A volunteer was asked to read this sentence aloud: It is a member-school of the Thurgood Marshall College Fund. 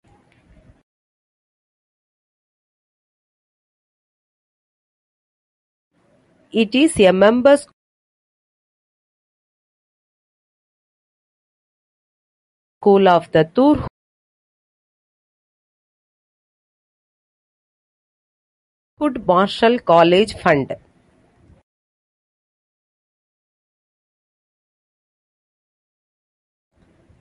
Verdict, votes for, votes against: rejected, 0, 2